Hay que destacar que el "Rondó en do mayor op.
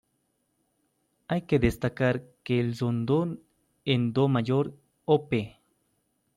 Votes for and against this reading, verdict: 1, 2, rejected